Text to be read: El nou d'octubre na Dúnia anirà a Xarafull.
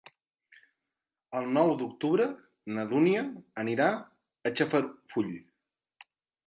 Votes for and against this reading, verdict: 0, 2, rejected